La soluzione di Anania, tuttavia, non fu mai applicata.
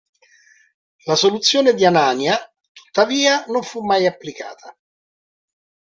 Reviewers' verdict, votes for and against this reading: accepted, 2, 0